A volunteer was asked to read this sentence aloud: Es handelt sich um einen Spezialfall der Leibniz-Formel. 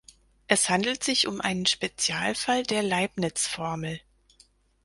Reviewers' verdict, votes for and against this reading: accepted, 4, 0